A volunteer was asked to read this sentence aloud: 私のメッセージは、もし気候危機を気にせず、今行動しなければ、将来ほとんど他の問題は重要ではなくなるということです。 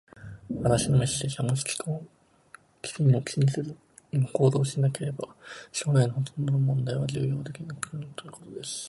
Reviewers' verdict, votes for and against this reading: rejected, 1, 2